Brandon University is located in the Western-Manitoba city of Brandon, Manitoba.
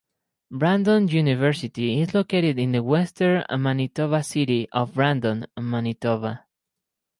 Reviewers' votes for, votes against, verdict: 4, 0, accepted